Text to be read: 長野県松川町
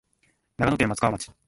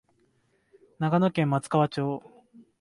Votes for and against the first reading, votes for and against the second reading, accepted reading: 1, 2, 2, 0, second